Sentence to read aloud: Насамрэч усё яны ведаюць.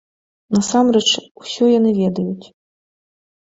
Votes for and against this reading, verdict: 3, 0, accepted